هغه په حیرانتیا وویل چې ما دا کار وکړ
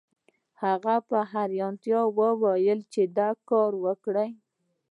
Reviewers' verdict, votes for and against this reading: rejected, 1, 2